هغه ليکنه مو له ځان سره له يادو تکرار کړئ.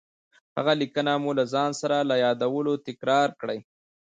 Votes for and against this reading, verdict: 0, 2, rejected